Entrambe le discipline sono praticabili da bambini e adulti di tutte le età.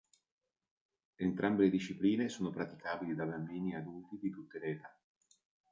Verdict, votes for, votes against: accepted, 2, 0